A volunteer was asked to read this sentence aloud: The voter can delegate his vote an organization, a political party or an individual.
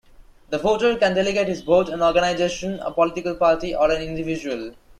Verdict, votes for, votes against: rejected, 1, 2